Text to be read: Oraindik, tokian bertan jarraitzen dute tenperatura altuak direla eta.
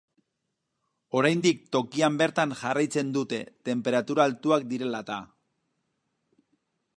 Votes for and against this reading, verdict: 2, 2, rejected